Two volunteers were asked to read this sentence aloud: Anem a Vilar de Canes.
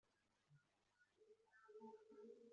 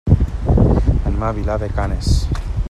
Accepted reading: second